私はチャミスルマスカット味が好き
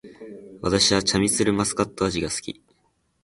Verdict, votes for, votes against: accepted, 2, 0